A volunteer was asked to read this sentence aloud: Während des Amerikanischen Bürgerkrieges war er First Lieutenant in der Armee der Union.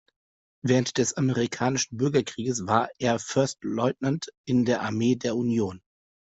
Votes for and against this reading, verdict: 2, 0, accepted